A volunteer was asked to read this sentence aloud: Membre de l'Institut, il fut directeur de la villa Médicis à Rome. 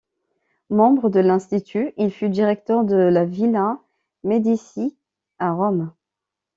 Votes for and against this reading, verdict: 0, 2, rejected